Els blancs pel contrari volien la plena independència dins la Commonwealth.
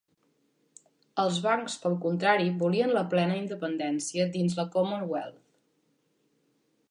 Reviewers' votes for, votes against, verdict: 0, 2, rejected